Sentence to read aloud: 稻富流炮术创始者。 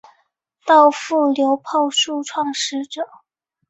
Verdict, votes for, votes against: accepted, 6, 1